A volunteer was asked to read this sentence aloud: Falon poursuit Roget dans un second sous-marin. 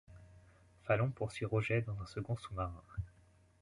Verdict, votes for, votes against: accepted, 2, 0